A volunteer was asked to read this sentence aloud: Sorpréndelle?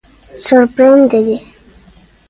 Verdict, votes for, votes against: accepted, 2, 0